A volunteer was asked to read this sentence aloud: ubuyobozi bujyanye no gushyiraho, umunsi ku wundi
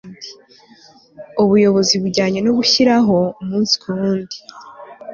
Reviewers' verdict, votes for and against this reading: accepted, 2, 0